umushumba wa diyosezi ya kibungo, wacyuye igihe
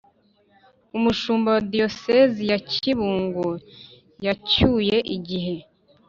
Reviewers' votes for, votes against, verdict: 2, 3, rejected